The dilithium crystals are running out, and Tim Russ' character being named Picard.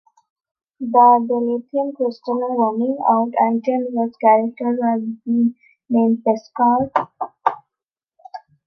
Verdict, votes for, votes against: rejected, 0, 2